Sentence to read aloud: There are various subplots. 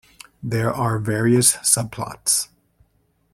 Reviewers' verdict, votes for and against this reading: accepted, 2, 0